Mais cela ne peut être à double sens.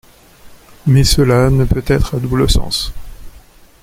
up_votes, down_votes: 2, 0